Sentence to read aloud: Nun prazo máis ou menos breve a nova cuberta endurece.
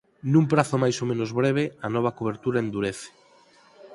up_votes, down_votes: 2, 4